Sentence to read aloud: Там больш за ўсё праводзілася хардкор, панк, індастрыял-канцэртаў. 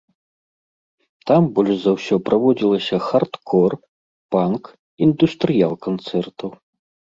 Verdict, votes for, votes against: rejected, 1, 2